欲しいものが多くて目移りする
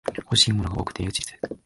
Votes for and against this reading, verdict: 1, 2, rejected